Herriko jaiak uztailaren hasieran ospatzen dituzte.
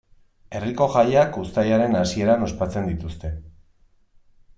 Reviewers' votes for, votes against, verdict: 1, 2, rejected